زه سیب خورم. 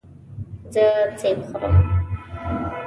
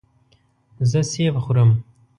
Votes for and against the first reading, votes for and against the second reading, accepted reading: 0, 2, 3, 0, second